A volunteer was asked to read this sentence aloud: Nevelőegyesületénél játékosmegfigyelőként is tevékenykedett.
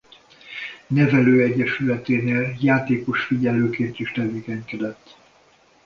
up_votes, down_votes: 0, 2